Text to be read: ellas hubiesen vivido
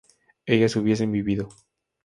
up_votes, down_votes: 2, 0